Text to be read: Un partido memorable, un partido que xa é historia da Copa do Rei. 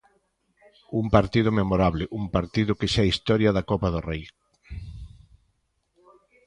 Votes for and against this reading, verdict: 2, 0, accepted